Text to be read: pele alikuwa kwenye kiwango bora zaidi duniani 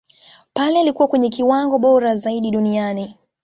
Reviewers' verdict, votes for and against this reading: rejected, 0, 2